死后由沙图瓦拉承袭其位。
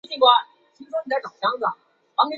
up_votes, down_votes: 0, 2